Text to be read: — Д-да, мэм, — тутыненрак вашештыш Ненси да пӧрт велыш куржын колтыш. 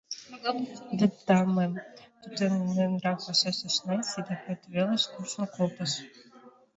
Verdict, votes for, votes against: rejected, 0, 2